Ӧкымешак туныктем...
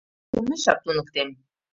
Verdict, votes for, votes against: rejected, 1, 2